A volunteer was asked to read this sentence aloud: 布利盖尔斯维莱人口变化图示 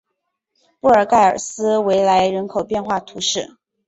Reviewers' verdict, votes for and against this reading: accepted, 3, 0